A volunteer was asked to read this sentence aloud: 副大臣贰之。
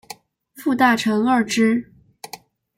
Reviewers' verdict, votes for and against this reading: accepted, 2, 0